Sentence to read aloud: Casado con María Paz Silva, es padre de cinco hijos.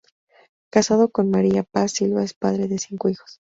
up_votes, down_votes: 0, 2